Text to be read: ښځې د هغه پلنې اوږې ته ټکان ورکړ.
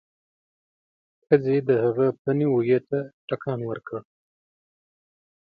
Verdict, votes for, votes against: accepted, 3, 0